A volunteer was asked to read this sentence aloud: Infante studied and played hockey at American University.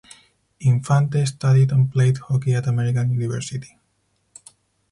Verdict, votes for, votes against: accepted, 4, 0